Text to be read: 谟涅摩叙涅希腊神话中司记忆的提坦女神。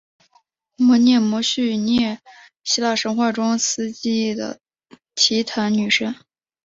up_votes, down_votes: 6, 0